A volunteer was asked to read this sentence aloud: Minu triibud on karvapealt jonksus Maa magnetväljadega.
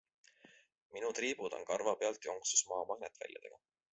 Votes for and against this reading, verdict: 2, 0, accepted